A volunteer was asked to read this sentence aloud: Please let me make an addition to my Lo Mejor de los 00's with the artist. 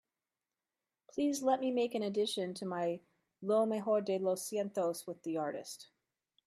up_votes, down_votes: 0, 2